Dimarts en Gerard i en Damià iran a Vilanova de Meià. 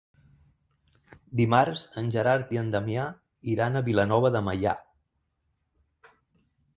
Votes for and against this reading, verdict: 3, 0, accepted